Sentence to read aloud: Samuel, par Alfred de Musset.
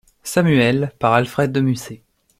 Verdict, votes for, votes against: accepted, 2, 0